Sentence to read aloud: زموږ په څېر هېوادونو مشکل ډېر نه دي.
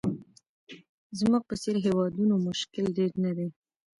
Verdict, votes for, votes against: rejected, 1, 2